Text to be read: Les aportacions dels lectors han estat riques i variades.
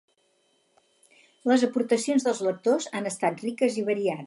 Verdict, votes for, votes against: accepted, 4, 0